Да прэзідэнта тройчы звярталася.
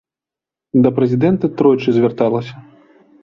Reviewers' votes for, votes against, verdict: 1, 2, rejected